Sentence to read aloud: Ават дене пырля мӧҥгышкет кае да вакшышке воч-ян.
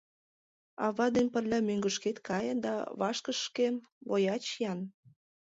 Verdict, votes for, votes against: rejected, 1, 2